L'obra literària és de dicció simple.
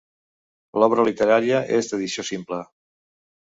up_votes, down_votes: 0, 2